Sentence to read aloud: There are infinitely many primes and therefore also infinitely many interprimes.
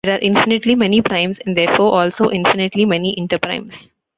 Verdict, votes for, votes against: rejected, 1, 2